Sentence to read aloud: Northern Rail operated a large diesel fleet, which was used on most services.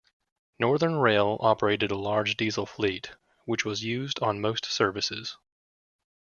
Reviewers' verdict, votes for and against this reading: rejected, 1, 2